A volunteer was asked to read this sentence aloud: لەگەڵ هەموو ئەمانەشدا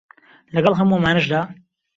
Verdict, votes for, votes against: accepted, 2, 0